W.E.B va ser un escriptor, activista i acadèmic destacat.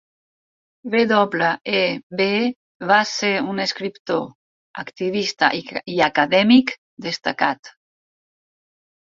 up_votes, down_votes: 0, 4